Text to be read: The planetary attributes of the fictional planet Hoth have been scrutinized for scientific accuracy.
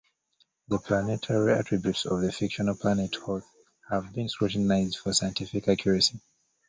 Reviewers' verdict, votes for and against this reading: accepted, 2, 0